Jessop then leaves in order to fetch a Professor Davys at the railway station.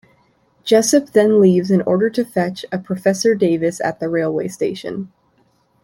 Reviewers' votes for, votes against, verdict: 1, 2, rejected